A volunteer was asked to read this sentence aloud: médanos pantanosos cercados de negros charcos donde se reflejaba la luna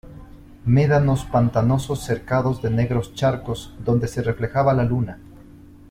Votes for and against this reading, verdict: 2, 0, accepted